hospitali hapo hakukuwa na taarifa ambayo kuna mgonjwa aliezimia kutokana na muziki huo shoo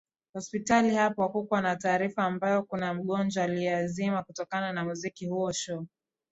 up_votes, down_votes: 4, 2